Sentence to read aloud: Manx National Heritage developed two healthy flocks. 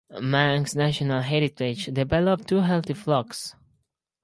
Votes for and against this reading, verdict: 2, 0, accepted